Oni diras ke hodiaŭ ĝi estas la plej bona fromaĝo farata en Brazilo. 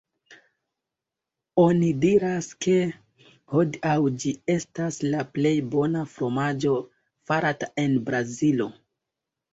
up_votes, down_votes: 2, 0